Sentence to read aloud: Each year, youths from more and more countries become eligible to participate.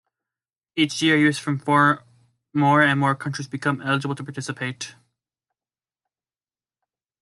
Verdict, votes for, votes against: rejected, 1, 2